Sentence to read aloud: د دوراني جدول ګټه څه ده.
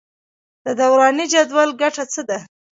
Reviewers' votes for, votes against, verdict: 0, 2, rejected